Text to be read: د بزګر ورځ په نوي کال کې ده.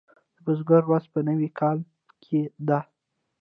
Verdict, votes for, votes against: rejected, 1, 2